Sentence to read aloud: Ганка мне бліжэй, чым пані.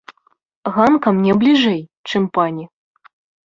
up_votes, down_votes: 2, 0